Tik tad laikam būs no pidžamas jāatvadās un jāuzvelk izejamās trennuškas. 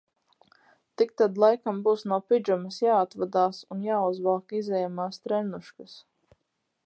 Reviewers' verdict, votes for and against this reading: accepted, 4, 0